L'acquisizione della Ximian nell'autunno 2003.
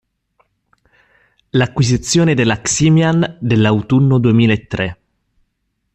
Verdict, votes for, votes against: rejected, 0, 2